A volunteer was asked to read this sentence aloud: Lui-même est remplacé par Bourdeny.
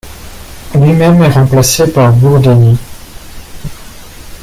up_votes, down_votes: 1, 2